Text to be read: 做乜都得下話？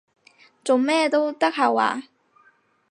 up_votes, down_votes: 2, 4